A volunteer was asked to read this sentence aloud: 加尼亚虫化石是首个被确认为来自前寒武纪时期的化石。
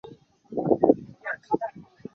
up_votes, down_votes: 0, 2